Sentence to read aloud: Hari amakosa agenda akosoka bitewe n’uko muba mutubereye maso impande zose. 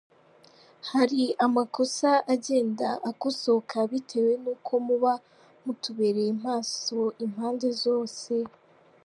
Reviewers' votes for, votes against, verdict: 3, 0, accepted